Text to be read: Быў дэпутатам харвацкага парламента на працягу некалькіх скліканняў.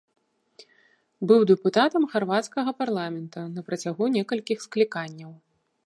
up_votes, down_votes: 2, 0